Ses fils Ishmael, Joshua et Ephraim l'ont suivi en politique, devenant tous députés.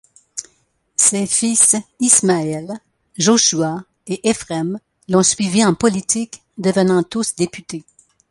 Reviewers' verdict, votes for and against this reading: rejected, 0, 2